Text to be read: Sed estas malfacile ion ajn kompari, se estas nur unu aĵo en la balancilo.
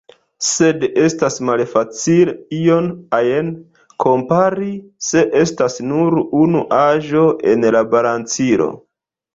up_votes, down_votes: 2, 1